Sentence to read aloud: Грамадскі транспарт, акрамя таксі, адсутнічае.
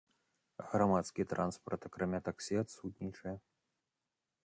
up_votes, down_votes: 2, 0